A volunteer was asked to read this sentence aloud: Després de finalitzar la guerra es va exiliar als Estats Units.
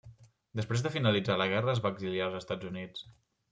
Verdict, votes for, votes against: accepted, 3, 0